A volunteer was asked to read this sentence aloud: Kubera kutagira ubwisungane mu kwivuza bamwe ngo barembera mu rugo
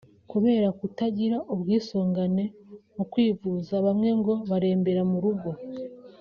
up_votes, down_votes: 2, 0